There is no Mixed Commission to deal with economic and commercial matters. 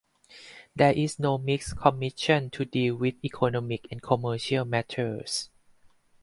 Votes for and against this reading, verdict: 4, 0, accepted